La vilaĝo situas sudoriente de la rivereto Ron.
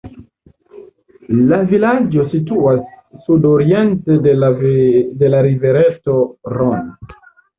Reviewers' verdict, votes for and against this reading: rejected, 0, 2